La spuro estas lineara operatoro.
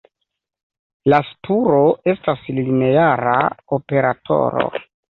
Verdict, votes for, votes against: accepted, 2, 0